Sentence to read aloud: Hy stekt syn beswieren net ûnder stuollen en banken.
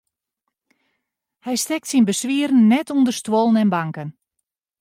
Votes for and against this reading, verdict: 2, 0, accepted